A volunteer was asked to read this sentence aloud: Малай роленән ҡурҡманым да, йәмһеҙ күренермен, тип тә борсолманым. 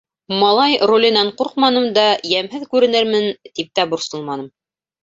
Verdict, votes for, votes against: rejected, 1, 2